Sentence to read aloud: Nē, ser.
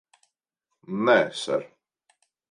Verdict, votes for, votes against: accepted, 2, 0